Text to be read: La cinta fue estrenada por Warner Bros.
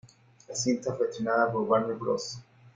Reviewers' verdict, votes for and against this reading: accepted, 2, 0